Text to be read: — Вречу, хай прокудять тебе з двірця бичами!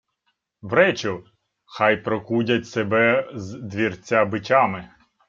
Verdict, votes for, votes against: rejected, 0, 2